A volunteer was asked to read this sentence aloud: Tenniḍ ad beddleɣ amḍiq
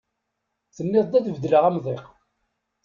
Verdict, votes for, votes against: rejected, 1, 2